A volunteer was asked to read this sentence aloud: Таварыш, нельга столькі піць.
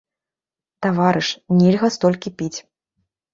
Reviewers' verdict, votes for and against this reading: accepted, 2, 0